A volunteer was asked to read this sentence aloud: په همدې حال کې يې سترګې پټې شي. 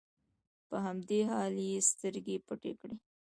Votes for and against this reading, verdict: 2, 0, accepted